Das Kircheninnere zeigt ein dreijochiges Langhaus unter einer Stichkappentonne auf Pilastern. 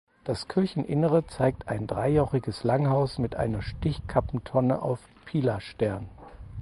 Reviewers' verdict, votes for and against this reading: rejected, 2, 4